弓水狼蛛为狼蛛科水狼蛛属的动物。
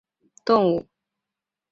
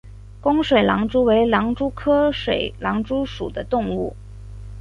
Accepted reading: second